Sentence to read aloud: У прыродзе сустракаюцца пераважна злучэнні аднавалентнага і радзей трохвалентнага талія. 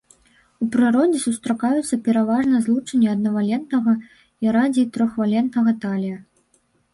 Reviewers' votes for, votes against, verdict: 0, 2, rejected